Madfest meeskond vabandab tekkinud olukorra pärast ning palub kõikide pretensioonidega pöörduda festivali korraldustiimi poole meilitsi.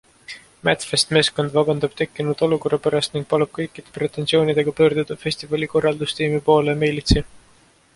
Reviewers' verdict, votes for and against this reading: accepted, 2, 0